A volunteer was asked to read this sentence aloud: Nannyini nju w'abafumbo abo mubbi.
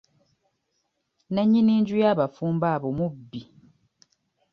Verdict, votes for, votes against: rejected, 0, 2